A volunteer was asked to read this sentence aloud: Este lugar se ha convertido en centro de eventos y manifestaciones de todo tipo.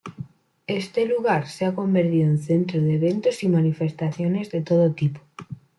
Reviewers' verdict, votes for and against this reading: rejected, 1, 2